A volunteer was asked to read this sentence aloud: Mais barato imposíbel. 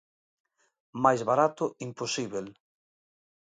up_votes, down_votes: 2, 0